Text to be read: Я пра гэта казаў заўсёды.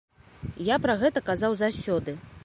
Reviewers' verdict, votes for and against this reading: rejected, 1, 2